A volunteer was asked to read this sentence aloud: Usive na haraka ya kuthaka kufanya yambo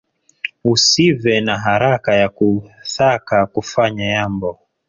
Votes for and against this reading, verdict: 5, 4, accepted